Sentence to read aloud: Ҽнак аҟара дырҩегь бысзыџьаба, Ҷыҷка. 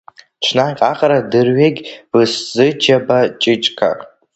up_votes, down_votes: 0, 2